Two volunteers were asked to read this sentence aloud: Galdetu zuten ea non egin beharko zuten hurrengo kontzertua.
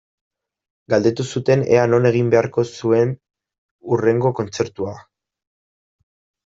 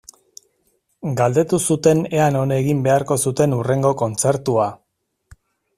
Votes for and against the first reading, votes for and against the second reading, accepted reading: 0, 2, 2, 0, second